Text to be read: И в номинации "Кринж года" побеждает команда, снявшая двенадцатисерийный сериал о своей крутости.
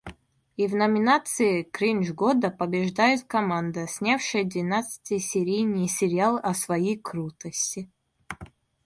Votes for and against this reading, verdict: 2, 0, accepted